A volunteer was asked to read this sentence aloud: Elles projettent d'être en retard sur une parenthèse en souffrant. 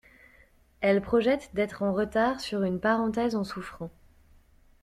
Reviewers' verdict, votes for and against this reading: accepted, 2, 0